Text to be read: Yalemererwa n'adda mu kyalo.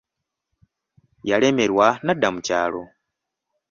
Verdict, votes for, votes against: accepted, 2, 0